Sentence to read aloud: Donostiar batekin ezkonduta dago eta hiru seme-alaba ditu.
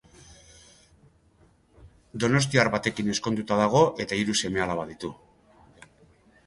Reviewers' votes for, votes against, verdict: 2, 0, accepted